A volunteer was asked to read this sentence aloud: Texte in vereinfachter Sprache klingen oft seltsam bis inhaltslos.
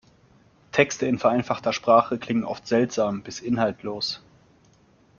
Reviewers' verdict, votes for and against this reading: rejected, 1, 2